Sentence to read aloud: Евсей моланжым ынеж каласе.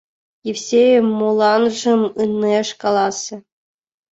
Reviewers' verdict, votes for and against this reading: accepted, 2, 0